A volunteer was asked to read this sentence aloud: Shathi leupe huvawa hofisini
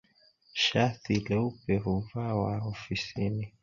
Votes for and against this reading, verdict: 2, 0, accepted